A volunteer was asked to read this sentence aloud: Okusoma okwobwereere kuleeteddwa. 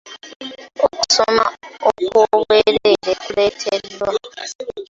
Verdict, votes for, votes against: accepted, 2, 0